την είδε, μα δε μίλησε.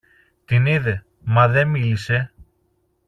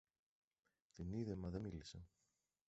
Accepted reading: first